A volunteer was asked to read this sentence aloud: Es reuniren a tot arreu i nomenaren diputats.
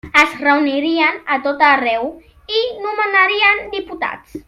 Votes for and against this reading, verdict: 0, 2, rejected